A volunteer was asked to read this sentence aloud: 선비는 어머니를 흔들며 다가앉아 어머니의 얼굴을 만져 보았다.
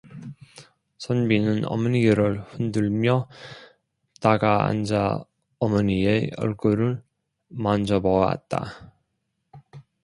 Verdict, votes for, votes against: rejected, 0, 2